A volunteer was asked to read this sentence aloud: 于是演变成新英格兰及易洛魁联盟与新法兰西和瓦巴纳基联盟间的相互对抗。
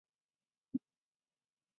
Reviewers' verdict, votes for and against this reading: rejected, 1, 2